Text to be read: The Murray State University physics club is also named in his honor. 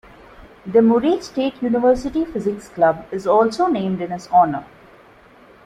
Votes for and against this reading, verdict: 2, 0, accepted